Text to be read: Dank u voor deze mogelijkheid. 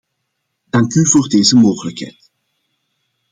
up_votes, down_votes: 2, 0